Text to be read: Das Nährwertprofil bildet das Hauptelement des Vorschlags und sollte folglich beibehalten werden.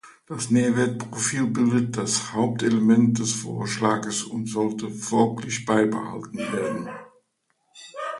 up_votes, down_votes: 0, 2